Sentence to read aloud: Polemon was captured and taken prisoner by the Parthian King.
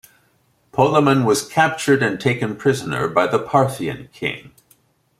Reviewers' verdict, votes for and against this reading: accepted, 2, 0